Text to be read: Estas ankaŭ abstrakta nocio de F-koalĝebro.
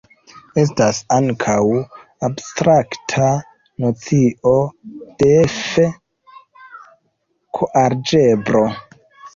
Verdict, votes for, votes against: rejected, 0, 2